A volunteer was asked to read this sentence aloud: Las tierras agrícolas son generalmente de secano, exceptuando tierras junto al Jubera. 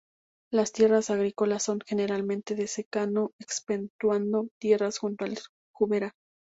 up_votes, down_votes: 0, 2